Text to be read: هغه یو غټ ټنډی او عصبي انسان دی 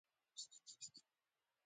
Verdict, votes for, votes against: rejected, 0, 2